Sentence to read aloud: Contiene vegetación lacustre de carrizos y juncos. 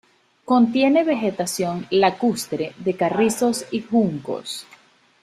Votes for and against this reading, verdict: 2, 0, accepted